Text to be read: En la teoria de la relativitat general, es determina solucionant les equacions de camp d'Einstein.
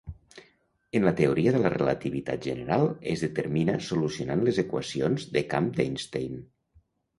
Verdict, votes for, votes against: accepted, 2, 0